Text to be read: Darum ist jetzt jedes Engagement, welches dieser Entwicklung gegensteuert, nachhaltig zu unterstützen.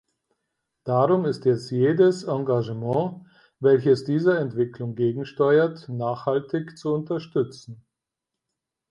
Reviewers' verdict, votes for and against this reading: accepted, 4, 0